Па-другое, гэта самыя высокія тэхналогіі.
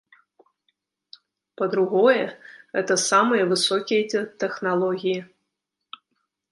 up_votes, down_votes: 1, 2